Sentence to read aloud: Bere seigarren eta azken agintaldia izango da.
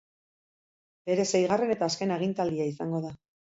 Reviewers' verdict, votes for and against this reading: accepted, 6, 0